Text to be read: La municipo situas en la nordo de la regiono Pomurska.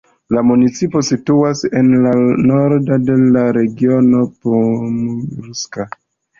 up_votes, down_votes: 1, 2